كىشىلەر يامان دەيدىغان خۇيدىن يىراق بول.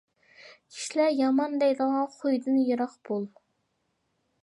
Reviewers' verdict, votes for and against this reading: accepted, 2, 0